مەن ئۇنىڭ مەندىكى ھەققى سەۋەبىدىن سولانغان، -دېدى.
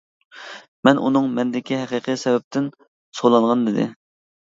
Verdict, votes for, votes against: rejected, 0, 2